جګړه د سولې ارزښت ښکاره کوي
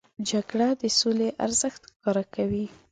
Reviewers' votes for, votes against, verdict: 2, 0, accepted